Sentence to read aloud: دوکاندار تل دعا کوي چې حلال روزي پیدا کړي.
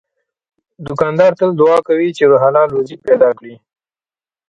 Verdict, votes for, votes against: rejected, 1, 2